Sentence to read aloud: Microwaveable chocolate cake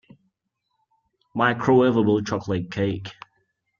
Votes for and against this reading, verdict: 2, 0, accepted